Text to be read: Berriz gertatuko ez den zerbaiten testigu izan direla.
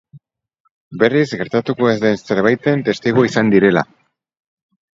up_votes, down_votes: 2, 2